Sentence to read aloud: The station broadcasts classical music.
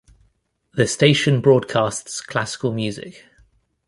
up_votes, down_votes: 2, 0